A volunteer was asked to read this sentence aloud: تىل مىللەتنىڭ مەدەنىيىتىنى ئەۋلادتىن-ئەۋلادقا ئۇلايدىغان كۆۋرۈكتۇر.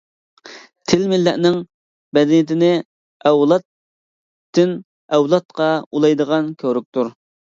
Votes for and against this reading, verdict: 0, 2, rejected